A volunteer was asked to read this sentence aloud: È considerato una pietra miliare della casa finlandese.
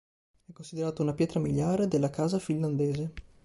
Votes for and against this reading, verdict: 1, 2, rejected